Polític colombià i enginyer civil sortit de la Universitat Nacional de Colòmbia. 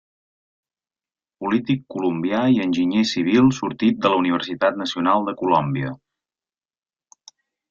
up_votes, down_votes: 3, 0